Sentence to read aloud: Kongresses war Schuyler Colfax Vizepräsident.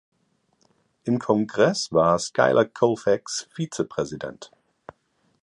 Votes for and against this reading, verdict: 0, 2, rejected